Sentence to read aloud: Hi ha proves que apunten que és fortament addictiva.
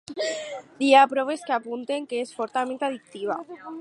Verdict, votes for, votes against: accepted, 4, 0